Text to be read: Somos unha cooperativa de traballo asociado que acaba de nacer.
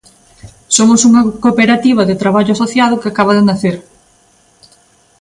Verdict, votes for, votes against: accepted, 2, 0